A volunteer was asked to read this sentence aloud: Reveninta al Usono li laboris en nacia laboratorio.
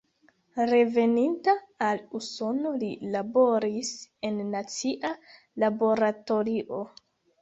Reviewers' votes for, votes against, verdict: 0, 2, rejected